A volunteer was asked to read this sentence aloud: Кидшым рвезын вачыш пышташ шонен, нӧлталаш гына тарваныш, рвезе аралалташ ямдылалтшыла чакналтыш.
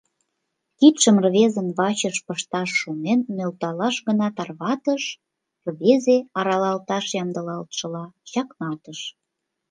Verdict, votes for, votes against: rejected, 1, 2